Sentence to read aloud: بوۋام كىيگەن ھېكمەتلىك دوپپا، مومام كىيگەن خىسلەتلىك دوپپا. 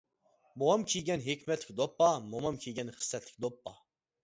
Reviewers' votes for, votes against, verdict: 2, 0, accepted